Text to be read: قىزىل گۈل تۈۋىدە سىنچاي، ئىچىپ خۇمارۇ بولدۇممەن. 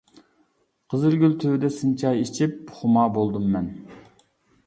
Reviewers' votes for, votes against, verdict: 0, 2, rejected